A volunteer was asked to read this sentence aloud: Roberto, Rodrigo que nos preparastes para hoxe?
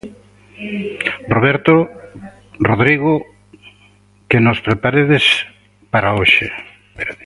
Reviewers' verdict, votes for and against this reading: rejected, 0, 2